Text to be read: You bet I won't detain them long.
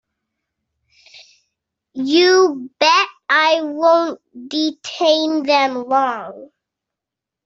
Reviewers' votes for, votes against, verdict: 2, 1, accepted